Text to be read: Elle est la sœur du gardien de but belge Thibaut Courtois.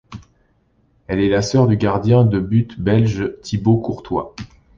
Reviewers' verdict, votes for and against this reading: accepted, 2, 0